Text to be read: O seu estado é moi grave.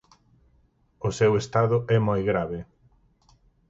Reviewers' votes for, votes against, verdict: 4, 0, accepted